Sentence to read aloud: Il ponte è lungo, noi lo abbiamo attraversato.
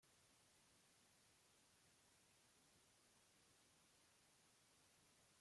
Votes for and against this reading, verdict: 1, 3, rejected